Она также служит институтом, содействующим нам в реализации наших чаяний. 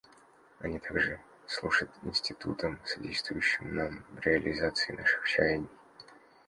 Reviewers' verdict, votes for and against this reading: rejected, 0, 2